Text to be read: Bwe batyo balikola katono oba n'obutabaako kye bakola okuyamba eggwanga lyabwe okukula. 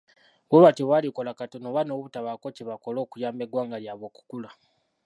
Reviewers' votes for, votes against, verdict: 1, 2, rejected